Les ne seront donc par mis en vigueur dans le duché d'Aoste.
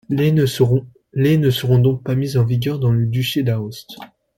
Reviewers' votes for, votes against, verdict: 0, 2, rejected